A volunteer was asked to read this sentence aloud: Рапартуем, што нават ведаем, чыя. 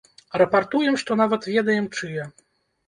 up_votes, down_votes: 1, 3